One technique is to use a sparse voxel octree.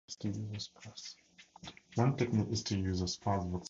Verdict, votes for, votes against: rejected, 2, 2